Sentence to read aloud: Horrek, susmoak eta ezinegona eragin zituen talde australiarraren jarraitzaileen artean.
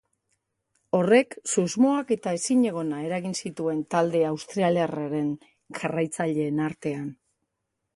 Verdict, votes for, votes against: rejected, 0, 2